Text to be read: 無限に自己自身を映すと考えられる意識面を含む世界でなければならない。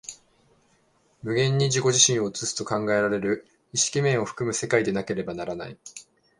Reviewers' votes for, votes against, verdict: 2, 0, accepted